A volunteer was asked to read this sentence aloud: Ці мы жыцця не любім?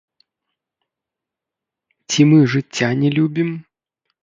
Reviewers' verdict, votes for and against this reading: rejected, 1, 2